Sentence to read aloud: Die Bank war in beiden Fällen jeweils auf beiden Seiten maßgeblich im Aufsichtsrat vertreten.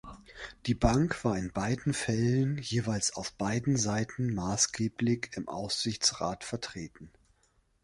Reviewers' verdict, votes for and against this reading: accepted, 2, 0